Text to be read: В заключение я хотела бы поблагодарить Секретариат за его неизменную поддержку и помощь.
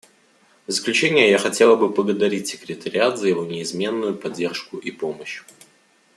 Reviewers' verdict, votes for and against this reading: rejected, 0, 2